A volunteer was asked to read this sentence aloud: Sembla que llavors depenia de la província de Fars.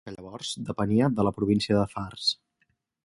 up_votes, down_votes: 0, 4